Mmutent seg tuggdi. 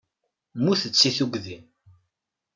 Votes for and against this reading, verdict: 2, 0, accepted